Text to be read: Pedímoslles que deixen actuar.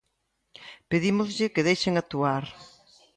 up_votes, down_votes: 1, 2